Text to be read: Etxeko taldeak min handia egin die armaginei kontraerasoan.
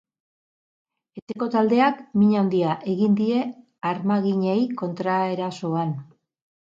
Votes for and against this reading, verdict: 2, 2, rejected